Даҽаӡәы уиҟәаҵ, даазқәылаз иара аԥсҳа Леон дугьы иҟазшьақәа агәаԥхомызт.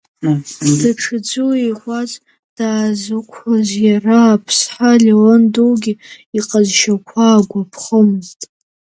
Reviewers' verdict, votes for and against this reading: rejected, 1, 2